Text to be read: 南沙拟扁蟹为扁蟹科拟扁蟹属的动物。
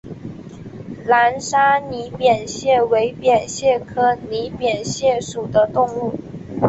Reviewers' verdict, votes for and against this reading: accepted, 4, 0